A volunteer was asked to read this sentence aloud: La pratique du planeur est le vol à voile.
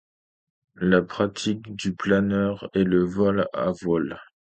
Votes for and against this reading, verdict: 2, 0, accepted